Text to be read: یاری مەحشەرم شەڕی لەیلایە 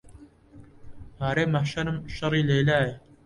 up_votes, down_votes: 0, 2